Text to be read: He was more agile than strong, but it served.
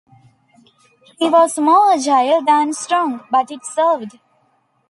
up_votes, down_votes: 1, 2